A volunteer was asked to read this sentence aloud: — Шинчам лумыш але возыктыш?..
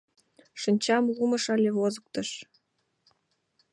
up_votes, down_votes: 2, 0